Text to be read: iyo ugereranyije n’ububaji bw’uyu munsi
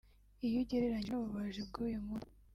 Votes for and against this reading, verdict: 1, 2, rejected